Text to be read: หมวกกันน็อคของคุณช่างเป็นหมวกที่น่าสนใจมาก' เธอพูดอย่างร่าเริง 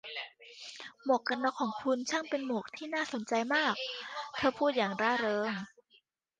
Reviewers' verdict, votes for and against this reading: rejected, 1, 2